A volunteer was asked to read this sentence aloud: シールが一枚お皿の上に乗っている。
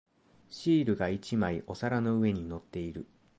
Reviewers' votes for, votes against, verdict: 2, 0, accepted